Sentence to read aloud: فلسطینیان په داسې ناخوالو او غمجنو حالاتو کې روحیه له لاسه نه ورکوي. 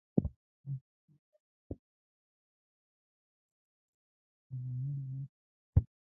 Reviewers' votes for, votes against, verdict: 1, 2, rejected